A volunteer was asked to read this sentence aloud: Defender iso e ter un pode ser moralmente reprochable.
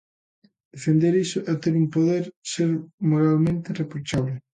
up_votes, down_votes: 0, 2